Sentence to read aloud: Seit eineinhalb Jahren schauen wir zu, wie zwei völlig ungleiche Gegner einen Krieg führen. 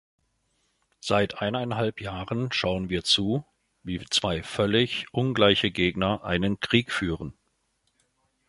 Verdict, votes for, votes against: accepted, 2, 0